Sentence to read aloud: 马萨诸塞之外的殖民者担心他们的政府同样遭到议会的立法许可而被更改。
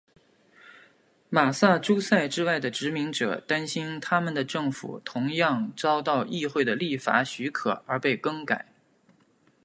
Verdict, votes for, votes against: accepted, 5, 0